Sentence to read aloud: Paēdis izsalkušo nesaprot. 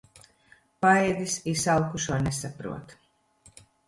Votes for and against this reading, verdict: 1, 2, rejected